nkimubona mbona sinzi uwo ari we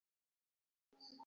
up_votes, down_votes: 1, 2